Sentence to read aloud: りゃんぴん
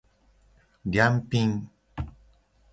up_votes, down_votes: 2, 0